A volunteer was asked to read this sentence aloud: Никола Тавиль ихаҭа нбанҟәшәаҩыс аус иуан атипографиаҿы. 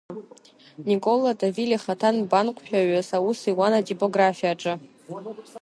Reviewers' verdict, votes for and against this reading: accepted, 2, 0